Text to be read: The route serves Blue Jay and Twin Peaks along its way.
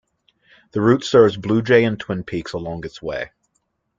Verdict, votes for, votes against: accepted, 2, 0